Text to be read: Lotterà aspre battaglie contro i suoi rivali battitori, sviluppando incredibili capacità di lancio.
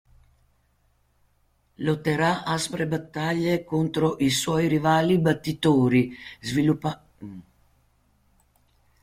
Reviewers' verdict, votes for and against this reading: rejected, 0, 2